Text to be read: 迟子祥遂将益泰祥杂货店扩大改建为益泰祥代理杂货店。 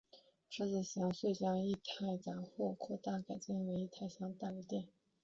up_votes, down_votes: 1, 2